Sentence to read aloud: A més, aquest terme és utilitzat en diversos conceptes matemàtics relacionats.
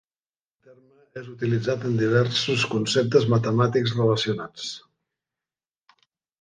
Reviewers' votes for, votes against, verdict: 1, 2, rejected